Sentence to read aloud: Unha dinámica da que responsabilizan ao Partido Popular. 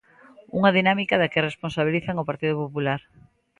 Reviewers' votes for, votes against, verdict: 2, 0, accepted